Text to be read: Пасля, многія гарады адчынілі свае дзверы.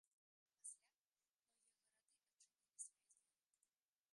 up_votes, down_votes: 0, 2